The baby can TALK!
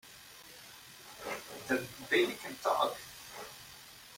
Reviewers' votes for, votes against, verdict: 1, 2, rejected